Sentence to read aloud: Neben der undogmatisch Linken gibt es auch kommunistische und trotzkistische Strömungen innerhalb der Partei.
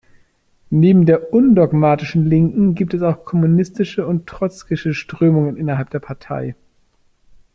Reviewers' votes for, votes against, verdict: 0, 2, rejected